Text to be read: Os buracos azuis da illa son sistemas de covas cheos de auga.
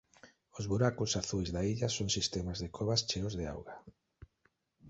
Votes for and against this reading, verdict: 2, 0, accepted